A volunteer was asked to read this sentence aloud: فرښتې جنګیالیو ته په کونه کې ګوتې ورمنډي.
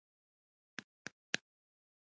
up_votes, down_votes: 1, 2